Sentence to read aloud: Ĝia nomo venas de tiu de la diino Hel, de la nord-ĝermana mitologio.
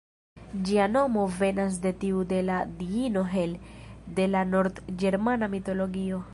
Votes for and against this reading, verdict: 1, 2, rejected